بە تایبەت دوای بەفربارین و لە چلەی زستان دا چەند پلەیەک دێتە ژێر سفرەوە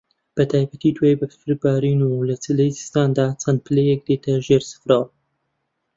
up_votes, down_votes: 1, 2